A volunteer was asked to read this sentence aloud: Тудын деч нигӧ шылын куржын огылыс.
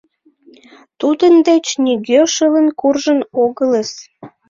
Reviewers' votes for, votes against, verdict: 2, 0, accepted